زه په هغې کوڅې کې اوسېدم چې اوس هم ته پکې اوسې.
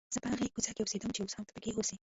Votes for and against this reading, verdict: 2, 1, accepted